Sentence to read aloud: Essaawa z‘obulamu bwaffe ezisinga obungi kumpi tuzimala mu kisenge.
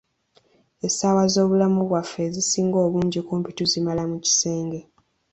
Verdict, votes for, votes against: accepted, 2, 1